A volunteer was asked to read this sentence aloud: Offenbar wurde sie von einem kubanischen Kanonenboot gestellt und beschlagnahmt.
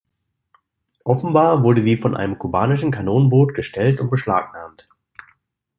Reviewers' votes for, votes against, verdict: 2, 0, accepted